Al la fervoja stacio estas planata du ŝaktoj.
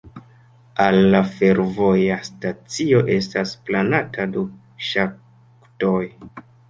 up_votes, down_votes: 2, 0